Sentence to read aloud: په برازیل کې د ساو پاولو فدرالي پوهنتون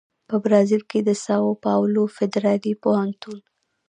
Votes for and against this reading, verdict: 0, 2, rejected